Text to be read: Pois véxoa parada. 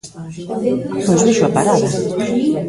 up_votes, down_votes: 1, 2